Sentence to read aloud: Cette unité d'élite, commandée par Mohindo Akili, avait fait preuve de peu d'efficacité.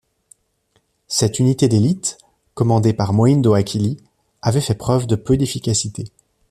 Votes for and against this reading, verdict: 2, 0, accepted